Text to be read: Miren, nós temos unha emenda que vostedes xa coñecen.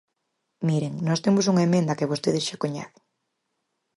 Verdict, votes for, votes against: accepted, 4, 0